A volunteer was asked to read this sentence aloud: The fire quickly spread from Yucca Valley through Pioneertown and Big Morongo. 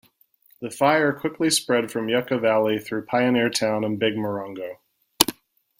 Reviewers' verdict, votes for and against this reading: accepted, 2, 0